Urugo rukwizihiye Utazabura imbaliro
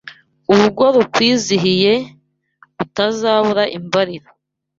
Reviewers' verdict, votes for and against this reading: accepted, 2, 0